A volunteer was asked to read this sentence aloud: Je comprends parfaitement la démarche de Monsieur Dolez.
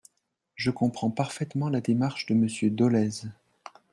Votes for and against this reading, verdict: 2, 0, accepted